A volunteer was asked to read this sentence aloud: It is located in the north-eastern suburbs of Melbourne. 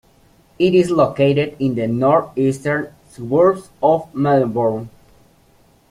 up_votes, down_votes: 1, 2